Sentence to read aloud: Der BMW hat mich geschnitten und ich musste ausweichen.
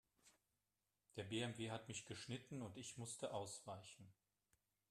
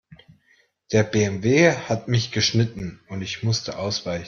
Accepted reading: first